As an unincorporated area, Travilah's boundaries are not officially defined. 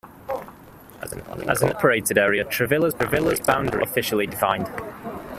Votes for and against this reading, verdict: 0, 2, rejected